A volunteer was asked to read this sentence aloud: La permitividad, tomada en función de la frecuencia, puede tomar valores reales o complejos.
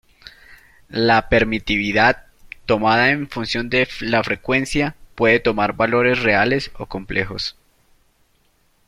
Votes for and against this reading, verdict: 0, 2, rejected